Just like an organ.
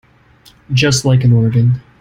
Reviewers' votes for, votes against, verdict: 2, 0, accepted